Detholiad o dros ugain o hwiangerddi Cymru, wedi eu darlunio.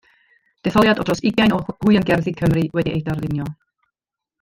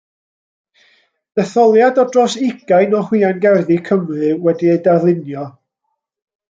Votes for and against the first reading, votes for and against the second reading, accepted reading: 1, 2, 2, 0, second